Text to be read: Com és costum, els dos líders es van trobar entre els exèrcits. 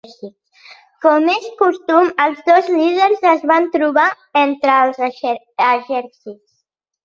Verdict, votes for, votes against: rejected, 1, 2